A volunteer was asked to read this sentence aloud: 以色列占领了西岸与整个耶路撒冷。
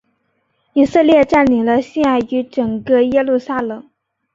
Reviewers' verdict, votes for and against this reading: accepted, 2, 0